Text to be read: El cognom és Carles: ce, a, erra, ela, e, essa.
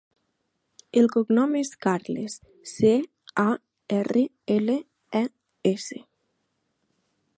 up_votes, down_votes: 0, 2